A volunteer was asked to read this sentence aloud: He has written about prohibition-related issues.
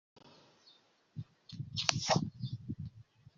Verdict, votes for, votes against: rejected, 0, 2